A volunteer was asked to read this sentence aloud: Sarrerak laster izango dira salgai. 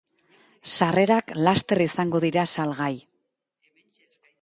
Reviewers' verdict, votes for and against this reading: rejected, 1, 2